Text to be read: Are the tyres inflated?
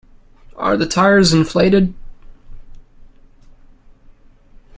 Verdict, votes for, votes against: accepted, 2, 0